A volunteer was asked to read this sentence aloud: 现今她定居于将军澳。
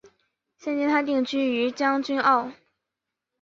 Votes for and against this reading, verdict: 3, 0, accepted